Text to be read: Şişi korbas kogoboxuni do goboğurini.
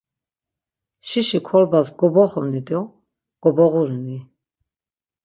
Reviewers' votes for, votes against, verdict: 3, 6, rejected